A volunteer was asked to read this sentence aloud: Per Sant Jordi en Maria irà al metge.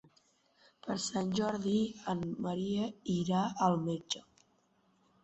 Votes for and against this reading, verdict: 2, 1, accepted